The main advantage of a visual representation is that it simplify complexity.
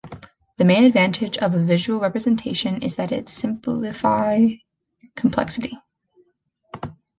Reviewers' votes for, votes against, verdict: 0, 2, rejected